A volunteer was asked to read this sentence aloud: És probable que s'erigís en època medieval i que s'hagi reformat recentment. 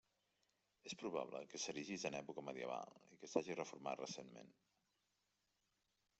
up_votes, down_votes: 0, 2